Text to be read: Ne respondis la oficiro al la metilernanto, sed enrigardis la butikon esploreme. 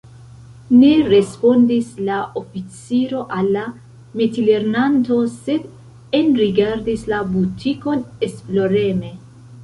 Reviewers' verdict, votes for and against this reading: rejected, 1, 2